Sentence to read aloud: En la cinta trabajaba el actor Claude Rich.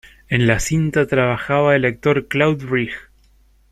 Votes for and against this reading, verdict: 2, 1, accepted